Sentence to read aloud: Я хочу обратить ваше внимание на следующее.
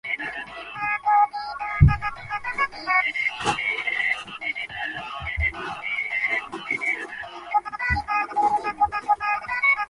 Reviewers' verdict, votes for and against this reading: rejected, 0, 2